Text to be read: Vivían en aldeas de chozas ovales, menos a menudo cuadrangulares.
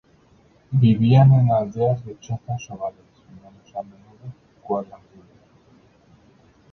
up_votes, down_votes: 0, 2